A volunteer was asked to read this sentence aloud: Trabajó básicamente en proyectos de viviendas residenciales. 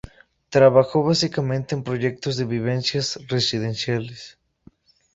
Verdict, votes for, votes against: rejected, 2, 2